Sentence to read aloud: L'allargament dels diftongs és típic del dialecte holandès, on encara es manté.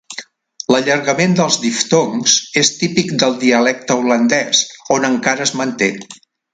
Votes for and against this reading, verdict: 2, 0, accepted